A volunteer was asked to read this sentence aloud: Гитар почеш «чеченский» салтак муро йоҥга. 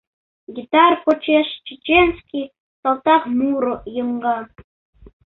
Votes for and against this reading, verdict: 2, 0, accepted